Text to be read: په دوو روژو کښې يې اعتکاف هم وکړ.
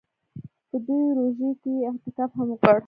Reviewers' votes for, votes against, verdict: 2, 3, rejected